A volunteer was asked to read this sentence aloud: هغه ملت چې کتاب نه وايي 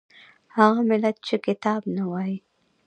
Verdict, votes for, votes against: accepted, 2, 1